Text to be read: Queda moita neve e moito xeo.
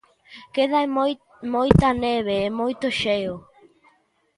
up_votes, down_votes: 0, 2